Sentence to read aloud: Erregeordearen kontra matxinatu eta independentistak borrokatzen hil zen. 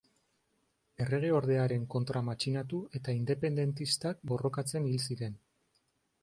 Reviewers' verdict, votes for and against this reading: rejected, 0, 2